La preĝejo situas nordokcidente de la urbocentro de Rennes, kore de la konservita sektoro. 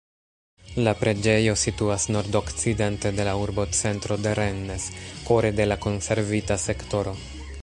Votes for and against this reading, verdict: 1, 2, rejected